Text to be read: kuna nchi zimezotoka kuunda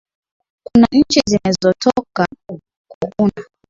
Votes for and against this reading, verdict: 8, 4, accepted